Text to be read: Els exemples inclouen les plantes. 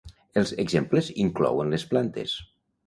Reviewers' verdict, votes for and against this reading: accepted, 2, 0